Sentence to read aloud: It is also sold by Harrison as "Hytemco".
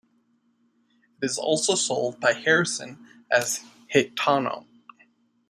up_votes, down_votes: 2, 1